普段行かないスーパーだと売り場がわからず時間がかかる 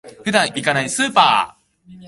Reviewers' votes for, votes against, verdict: 1, 2, rejected